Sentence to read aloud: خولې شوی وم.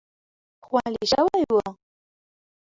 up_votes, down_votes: 1, 2